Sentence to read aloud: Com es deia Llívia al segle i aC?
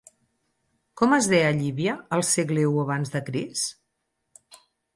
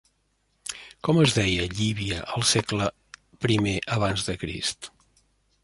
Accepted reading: second